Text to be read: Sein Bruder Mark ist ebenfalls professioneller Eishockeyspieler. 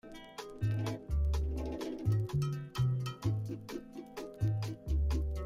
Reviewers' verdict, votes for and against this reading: rejected, 0, 2